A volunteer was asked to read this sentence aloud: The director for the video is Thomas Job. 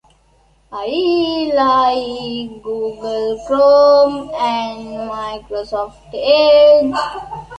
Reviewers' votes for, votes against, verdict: 0, 2, rejected